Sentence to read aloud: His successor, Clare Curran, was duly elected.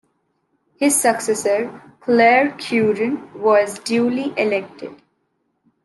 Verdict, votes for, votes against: rejected, 1, 2